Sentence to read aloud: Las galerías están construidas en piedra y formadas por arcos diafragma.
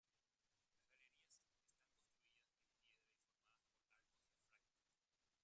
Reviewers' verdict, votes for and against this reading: rejected, 0, 2